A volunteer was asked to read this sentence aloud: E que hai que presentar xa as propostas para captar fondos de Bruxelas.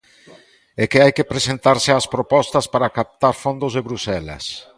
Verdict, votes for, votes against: accepted, 2, 0